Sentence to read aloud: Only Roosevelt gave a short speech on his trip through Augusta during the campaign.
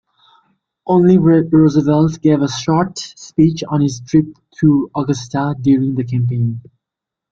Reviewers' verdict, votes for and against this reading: rejected, 1, 2